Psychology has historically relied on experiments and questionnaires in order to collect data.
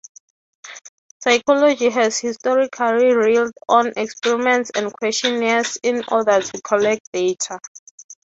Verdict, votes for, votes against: accepted, 3, 0